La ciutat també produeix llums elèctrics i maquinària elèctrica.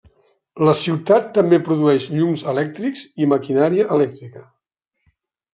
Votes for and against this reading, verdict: 3, 0, accepted